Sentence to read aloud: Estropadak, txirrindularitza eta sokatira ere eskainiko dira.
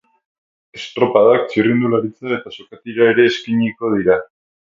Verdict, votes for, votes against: accepted, 6, 0